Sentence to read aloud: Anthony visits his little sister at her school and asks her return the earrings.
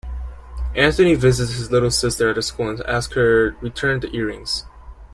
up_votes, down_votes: 0, 2